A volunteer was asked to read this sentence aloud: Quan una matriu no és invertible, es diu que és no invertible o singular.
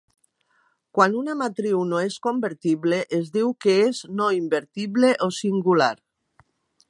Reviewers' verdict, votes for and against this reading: rejected, 1, 2